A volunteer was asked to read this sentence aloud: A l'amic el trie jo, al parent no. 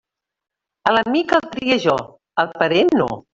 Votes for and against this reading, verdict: 0, 2, rejected